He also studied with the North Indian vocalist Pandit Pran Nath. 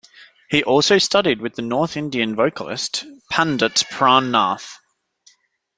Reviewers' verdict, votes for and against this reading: accepted, 2, 0